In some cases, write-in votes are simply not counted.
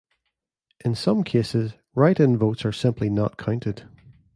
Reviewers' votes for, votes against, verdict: 2, 0, accepted